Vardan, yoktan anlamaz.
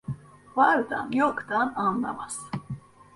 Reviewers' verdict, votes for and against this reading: rejected, 0, 2